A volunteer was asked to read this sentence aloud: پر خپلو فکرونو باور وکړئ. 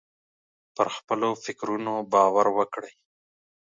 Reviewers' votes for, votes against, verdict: 2, 0, accepted